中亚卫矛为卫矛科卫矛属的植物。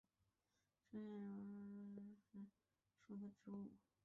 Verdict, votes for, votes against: rejected, 1, 2